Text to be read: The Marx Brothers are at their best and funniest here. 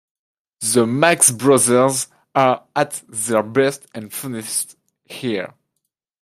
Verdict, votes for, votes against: rejected, 1, 2